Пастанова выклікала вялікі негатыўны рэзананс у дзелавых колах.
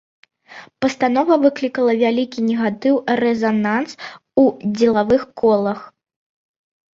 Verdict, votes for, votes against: rejected, 0, 2